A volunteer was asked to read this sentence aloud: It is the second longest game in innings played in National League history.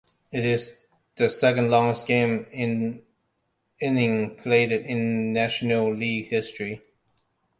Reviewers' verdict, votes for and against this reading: accepted, 2, 0